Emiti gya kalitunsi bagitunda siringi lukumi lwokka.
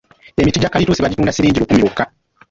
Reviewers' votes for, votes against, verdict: 0, 2, rejected